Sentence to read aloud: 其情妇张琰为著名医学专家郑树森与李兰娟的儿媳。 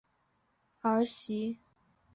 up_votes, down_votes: 0, 2